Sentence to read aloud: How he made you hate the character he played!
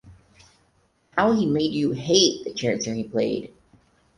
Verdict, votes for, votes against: accepted, 4, 0